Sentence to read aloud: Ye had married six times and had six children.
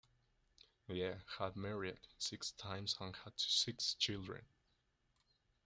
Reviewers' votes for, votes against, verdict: 1, 2, rejected